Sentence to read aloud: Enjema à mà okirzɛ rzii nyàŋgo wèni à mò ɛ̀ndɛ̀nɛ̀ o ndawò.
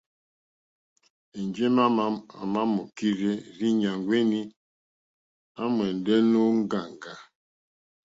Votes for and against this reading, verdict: 0, 2, rejected